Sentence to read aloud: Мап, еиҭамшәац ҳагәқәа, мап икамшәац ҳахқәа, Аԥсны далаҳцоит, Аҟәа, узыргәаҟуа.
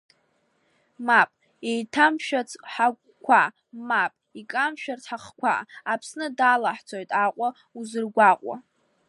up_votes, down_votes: 2, 1